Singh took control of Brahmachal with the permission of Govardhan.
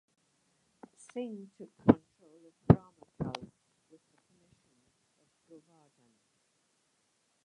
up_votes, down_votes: 0, 2